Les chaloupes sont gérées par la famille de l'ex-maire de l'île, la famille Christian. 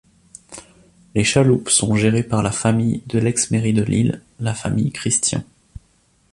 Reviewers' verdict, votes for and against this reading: rejected, 2, 3